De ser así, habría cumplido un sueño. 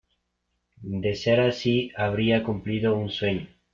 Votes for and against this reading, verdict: 2, 0, accepted